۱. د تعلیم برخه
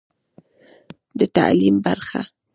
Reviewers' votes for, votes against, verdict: 0, 2, rejected